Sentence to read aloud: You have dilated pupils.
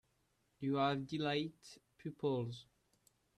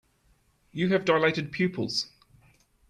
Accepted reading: second